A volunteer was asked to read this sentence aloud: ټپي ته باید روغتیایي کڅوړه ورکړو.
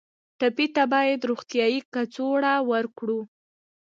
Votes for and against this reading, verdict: 2, 1, accepted